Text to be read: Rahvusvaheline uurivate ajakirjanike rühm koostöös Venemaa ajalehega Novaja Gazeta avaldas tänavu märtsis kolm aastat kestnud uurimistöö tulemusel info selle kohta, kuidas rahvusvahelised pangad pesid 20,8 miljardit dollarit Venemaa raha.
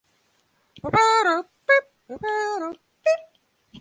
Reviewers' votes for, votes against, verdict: 0, 2, rejected